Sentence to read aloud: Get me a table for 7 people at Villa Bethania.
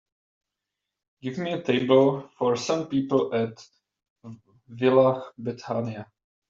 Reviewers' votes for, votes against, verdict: 0, 2, rejected